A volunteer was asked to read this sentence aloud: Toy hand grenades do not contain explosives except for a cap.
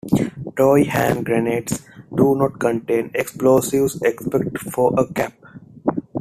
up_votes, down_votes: 1, 2